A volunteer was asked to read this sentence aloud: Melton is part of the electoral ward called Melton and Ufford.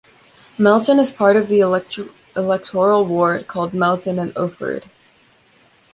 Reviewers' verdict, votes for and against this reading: rejected, 1, 2